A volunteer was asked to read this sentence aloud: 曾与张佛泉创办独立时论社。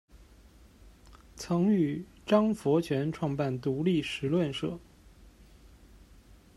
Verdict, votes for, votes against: accepted, 2, 0